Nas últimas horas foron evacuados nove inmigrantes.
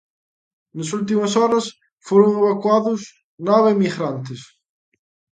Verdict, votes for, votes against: accepted, 2, 0